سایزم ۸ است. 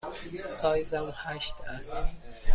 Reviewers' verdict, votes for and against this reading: rejected, 0, 2